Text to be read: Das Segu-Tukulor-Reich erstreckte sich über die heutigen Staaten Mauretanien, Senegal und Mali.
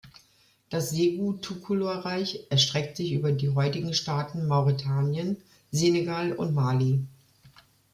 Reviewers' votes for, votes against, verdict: 1, 2, rejected